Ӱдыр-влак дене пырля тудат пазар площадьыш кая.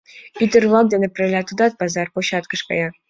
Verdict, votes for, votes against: accepted, 2, 1